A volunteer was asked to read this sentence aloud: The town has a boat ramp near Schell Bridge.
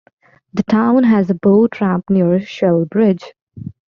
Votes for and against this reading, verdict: 2, 0, accepted